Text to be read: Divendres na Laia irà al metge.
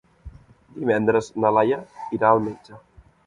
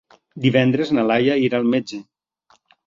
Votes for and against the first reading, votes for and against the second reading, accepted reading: 1, 2, 3, 0, second